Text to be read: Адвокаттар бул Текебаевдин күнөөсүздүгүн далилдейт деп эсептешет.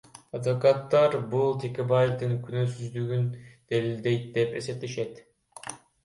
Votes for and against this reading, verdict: 1, 2, rejected